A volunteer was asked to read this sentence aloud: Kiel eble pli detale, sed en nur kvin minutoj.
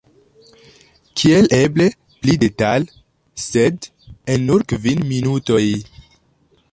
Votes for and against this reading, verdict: 0, 2, rejected